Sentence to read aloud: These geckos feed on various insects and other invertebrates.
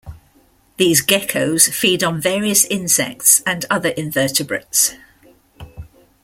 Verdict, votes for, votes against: accepted, 2, 0